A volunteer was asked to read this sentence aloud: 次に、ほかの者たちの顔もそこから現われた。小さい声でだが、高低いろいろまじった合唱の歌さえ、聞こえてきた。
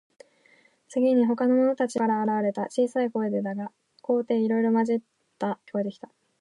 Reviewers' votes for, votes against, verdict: 1, 2, rejected